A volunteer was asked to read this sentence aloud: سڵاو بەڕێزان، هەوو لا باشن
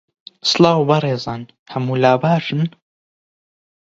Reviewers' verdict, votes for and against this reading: rejected, 0, 20